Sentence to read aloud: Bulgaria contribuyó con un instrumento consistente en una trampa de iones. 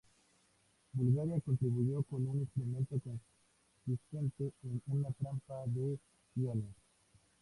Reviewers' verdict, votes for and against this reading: accepted, 2, 0